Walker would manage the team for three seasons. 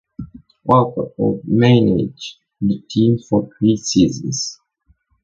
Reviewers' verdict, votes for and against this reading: accepted, 2, 1